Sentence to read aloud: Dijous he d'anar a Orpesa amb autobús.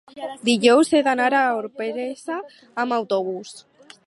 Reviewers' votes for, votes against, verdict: 4, 0, accepted